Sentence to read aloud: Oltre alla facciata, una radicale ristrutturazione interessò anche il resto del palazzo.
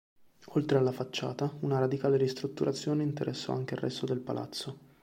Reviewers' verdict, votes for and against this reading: accepted, 2, 0